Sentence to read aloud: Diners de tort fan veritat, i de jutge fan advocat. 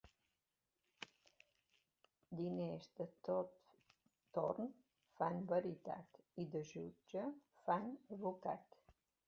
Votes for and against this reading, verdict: 0, 2, rejected